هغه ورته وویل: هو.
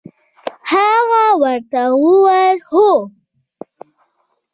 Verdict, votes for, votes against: accepted, 2, 1